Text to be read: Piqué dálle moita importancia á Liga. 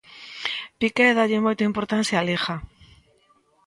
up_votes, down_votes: 2, 0